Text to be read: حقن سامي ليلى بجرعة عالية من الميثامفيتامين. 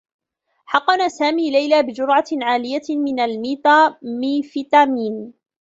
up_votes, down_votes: 1, 2